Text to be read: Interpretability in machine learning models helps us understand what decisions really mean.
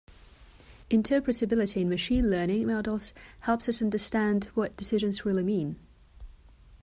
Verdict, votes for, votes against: accepted, 2, 0